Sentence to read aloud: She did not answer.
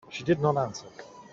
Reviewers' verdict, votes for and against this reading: accepted, 2, 0